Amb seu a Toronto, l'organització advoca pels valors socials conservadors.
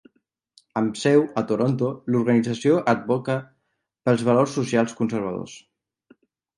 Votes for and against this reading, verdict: 2, 0, accepted